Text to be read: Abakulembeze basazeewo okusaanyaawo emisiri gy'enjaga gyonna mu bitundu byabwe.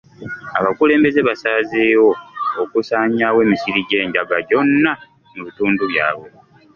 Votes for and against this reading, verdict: 0, 2, rejected